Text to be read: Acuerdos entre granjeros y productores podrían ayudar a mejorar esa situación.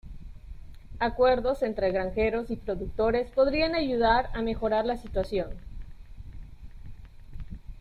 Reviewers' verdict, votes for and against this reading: rejected, 0, 2